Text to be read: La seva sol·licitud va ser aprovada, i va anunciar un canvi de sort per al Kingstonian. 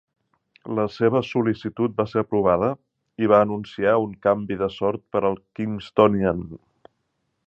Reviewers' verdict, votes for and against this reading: accepted, 3, 0